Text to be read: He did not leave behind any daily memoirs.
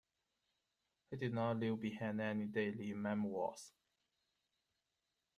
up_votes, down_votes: 2, 0